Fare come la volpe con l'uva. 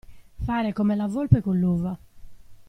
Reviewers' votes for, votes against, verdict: 2, 0, accepted